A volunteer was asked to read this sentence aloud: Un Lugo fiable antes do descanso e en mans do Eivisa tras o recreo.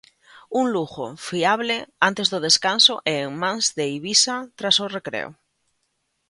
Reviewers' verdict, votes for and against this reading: rejected, 1, 2